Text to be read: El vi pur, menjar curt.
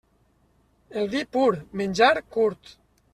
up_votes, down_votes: 2, 0